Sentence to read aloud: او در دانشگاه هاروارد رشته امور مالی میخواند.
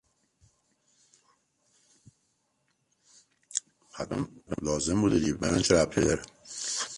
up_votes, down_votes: 0, 2